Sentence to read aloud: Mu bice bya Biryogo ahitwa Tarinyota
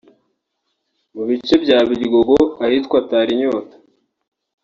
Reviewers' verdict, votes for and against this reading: rejected, 0, 2